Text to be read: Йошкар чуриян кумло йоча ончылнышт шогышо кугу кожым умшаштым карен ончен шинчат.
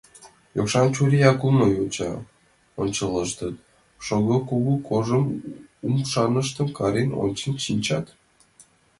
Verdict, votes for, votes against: rejected, 0, 2